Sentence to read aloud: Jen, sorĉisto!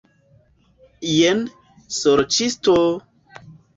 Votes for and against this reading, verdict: 0, 2, rejected